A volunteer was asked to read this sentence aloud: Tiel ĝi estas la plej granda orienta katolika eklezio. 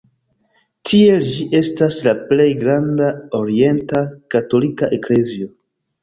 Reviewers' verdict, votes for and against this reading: accepted, 2, 0